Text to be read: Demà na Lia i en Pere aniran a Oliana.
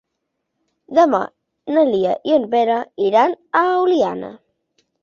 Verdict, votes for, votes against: rejected, 1, 2